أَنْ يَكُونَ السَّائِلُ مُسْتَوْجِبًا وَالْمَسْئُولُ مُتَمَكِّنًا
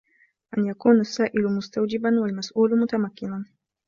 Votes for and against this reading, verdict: 2, 0, accepted